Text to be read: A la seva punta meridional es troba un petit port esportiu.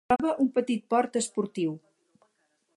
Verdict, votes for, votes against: rejected, 0, 4